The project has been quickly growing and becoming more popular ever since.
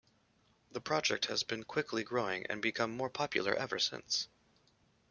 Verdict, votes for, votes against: rejected, 1, 2